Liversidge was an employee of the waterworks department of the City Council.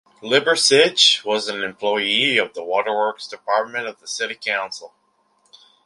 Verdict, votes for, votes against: accepted, 2, 0